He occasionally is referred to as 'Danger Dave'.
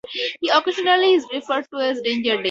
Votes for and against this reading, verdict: 4, 0, accepted